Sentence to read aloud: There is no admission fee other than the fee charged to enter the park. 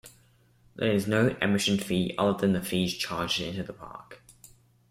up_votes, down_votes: 1, 2